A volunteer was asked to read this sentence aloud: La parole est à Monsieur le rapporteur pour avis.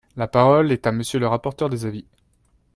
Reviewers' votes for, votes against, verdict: 0, 2, rejected